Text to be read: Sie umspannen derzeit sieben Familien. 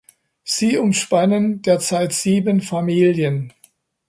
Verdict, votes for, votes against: accepted, 2, 0